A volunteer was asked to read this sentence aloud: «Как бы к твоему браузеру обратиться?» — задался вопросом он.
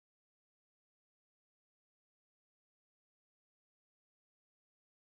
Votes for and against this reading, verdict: 0, 14, rejected